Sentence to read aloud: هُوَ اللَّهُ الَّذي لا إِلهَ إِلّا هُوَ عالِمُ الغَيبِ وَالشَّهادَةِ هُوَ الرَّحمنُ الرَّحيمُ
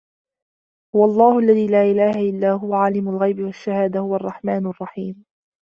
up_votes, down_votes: 2, 0